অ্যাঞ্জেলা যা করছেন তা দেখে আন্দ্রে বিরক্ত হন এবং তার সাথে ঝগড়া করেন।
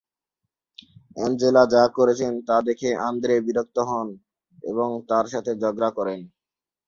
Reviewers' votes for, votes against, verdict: 2, 0, accepted